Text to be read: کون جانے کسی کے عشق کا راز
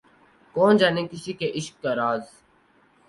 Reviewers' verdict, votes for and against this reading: rejected, 2, 2